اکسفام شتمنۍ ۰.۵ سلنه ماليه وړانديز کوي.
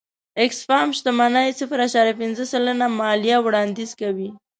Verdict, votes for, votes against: rejected, 0, 2